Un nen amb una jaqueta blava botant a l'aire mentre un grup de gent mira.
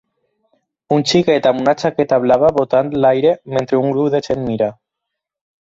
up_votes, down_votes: 0, 6